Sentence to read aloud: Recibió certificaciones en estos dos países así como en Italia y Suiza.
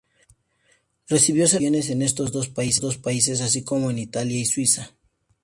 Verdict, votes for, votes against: rejected, 0, 2